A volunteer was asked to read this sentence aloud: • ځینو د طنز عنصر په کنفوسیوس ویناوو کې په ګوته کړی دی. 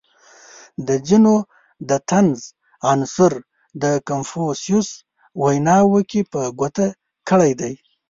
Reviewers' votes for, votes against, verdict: 1, 2, rejected